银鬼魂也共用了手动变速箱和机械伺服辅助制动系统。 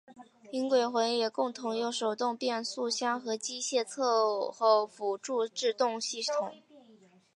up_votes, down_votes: 0, 2